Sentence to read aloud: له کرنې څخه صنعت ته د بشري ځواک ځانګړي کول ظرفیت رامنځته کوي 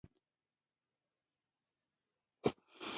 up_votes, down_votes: 1, 2